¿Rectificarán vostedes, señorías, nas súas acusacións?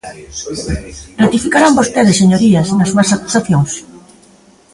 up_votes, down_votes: 1, 2